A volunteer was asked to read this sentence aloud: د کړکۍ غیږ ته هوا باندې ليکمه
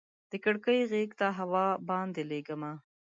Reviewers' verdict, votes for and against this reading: rejected, 1, 2